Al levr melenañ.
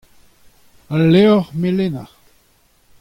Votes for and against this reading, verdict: 2, 0, accepted